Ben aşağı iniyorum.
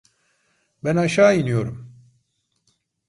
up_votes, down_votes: 2, 1